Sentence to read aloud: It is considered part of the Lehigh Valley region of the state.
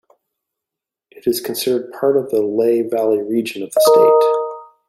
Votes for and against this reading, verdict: 0, 2, rejected